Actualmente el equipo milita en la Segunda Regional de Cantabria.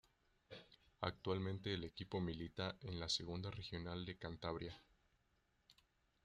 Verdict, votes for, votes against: rejected, 0, 2